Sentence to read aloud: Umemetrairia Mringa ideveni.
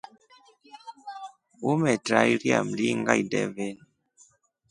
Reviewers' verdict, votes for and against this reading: accepted, 2, 0